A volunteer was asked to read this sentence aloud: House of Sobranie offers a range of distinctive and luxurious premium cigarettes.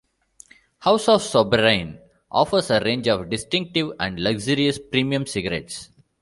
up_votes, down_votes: 2, 0